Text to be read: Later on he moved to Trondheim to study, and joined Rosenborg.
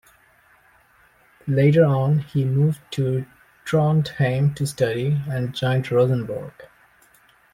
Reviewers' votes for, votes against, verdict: 2, 0, accepted